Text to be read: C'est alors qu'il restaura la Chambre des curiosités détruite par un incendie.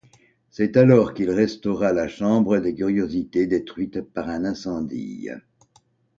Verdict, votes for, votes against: accepted, 2, 0